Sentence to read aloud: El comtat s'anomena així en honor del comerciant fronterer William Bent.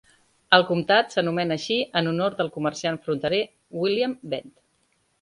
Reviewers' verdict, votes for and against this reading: accepted, 2, 0